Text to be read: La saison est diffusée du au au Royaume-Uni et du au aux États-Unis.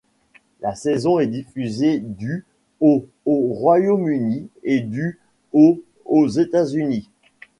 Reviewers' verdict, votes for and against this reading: accepted, 2, 0